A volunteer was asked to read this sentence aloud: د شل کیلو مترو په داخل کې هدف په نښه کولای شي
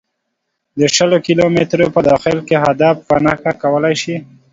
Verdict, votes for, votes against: accepted, 2, 0